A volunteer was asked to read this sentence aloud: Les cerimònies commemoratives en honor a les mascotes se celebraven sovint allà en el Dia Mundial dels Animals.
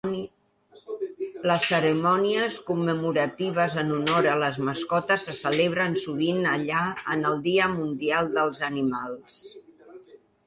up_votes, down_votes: 1, 2